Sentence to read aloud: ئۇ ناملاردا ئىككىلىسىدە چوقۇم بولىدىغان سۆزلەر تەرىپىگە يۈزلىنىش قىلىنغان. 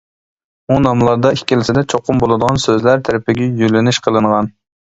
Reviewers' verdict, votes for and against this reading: rejected, 0, 2